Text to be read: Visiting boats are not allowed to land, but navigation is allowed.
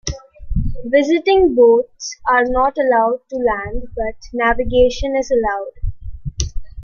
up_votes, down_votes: 2, 0